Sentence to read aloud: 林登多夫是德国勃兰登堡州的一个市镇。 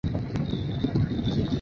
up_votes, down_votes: 1, 4